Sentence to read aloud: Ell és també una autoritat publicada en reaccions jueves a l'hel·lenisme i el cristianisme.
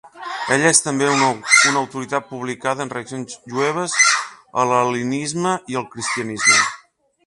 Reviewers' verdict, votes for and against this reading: rejected, 1, 3